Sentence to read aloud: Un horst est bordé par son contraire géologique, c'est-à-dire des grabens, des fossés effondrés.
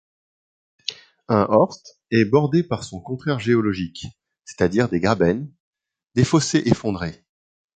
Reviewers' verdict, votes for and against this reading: accepted, 2, 0